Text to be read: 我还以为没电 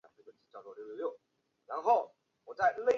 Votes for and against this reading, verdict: 0, 3, rejected